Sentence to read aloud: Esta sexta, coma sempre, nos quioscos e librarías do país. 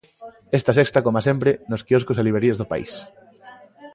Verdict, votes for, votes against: accepted, 2, 0